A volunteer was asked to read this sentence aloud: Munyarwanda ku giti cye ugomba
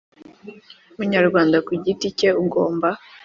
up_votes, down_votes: 3, 0